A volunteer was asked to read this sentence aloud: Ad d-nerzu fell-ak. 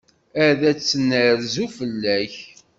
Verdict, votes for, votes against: rejected, 1, 2